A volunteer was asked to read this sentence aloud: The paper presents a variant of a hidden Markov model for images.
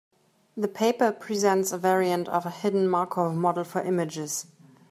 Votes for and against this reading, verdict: 2, 0, accepted